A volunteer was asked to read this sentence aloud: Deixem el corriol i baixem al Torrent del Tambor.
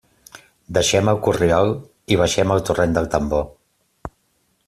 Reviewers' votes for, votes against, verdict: 2, 0, accepted